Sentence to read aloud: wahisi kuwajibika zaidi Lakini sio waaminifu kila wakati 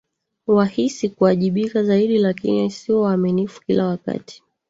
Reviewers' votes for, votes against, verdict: 0, 2, rejected